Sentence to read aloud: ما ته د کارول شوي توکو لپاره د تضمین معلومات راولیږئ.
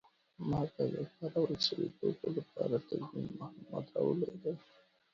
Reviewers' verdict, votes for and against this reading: accepted, 2, 1